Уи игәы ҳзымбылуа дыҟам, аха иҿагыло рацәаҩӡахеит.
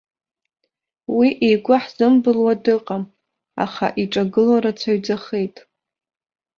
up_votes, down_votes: 0, 2